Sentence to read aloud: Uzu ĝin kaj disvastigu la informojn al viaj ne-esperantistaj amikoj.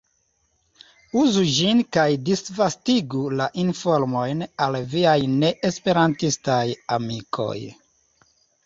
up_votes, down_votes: 2, 0